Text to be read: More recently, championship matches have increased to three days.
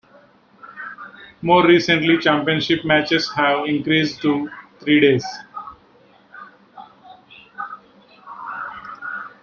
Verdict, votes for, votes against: accepted, 2, 1